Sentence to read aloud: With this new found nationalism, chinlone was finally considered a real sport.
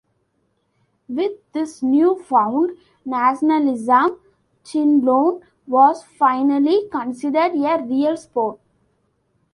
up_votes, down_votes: 0, 2